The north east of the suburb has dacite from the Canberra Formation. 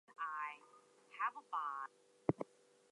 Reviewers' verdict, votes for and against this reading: rejected, 0, 2